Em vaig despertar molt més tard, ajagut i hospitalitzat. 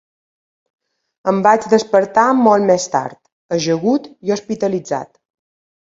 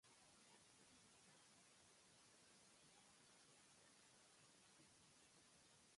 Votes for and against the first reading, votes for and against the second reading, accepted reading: 2, 0, 1, 2, first